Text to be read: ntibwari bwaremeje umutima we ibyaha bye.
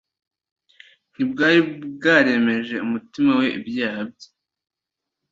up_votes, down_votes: 2, 0